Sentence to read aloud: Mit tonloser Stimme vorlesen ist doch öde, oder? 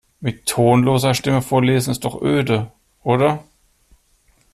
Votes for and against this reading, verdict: 2, 0, accepted